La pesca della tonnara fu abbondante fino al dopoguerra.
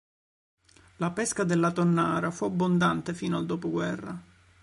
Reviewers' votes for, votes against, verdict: 2, 0, accepted